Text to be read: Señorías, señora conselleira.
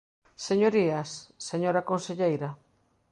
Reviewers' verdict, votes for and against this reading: accepted, 2, 0